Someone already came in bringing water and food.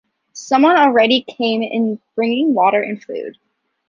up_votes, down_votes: 3, 0